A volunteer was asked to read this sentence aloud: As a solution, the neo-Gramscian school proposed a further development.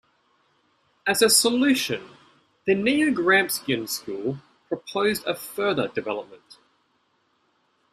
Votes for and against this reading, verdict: 2, 1, accepted